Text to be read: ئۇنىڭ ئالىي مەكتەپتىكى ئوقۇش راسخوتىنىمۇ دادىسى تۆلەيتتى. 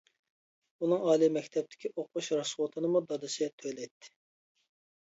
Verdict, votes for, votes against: accepted, 2, 0